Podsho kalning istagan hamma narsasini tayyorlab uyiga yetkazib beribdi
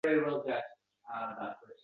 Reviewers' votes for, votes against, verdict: 0, 2, rejected